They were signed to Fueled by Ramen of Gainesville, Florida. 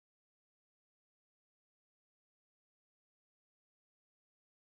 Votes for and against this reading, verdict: 0, 2, rejected